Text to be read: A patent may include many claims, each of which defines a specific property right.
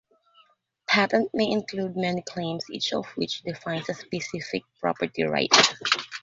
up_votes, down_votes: 0, 3